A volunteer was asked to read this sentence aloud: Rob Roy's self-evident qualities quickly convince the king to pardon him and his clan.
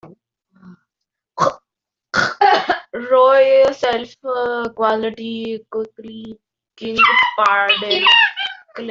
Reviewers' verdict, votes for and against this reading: rejected, 0, 2